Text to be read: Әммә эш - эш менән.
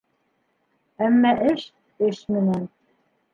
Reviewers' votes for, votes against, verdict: 2, 1, accepted